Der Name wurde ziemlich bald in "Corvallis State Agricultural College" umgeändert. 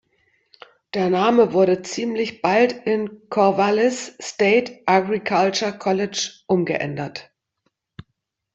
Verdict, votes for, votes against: rejected, 1, 2